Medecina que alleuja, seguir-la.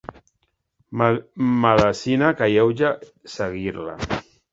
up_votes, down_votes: 0, 2